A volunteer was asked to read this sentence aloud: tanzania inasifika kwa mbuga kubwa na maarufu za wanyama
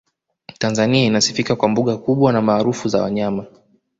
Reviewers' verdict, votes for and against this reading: accepted, 2, 1